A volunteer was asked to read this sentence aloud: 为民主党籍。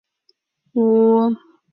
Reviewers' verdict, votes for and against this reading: rejected, 1, 2